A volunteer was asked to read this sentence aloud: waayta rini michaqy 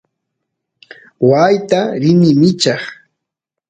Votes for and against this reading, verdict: 2, 0, accepted